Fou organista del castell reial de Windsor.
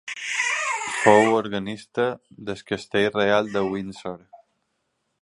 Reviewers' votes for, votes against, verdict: 2, 1, accepted